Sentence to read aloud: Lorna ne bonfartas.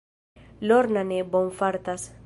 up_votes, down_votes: 1, 2